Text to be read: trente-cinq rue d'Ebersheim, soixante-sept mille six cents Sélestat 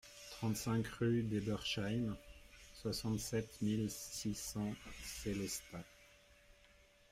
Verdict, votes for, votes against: rejected, 1, 2